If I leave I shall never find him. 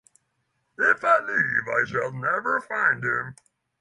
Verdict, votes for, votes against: rejected, 3, 3